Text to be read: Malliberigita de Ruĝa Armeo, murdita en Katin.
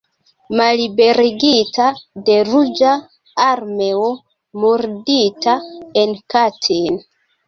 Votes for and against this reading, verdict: 0, 2, rejected